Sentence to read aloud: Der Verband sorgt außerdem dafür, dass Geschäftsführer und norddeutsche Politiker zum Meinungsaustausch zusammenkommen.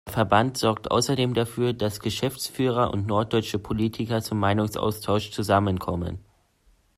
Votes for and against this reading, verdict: 0, 2, rejected